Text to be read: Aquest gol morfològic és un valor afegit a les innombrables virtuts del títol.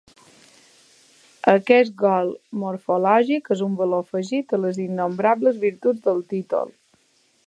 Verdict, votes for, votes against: accepted, 2, 0